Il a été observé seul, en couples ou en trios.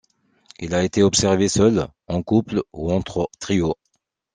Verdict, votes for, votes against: rejected, 0, 2